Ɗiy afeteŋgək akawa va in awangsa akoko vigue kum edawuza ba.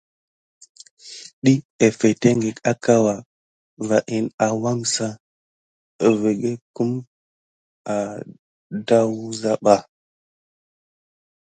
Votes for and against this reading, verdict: 2, 0, accepted